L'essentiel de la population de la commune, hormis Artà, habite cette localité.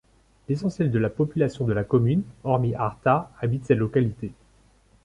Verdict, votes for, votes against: accepted, 2, 0